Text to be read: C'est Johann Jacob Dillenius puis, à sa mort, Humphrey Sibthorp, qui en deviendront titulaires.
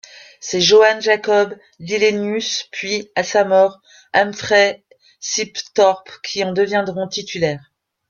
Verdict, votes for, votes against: rejected, 1, 2